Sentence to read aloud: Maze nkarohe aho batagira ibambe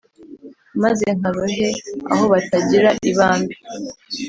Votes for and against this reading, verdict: 2, 0, accepted